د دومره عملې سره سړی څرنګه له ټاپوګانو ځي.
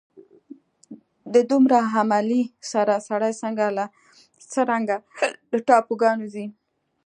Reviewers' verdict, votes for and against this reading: accepted, 2, 1